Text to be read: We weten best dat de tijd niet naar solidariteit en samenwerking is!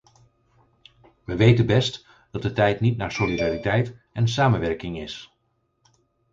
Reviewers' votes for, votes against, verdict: 2, 4, rejected